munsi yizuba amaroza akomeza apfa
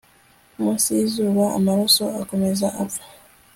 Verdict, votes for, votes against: rejected, 1, 2